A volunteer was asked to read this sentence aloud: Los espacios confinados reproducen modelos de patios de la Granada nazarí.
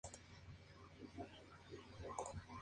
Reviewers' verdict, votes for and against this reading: rejected, 0, 2